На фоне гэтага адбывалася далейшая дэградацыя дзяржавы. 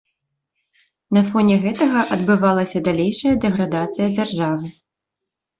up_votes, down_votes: 2, 0